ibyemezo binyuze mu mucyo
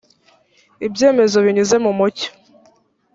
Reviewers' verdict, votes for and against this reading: accepted, 2, 0